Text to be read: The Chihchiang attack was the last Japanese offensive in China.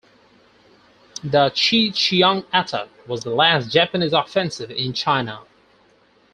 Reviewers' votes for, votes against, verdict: 4, 0, accepted